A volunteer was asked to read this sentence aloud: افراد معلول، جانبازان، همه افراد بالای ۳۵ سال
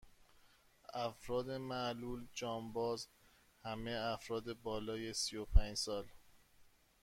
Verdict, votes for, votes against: rejected, 0, 2